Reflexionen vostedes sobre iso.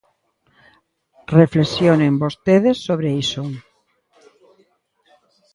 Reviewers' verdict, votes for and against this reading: rejected, 1, 2